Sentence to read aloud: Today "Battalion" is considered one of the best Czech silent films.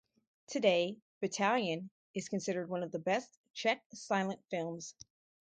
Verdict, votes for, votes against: accepted, 4, 0